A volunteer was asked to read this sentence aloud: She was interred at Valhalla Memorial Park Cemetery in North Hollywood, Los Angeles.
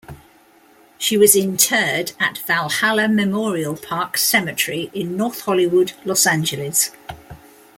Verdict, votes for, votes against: accepted, 2, 0